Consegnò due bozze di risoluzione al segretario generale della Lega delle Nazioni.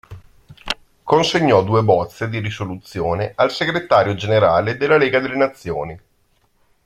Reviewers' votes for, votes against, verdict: 2, 0, accepted